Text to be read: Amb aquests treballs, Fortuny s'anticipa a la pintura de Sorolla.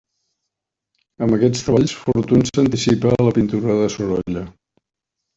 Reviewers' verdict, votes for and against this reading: rejected, 0, 2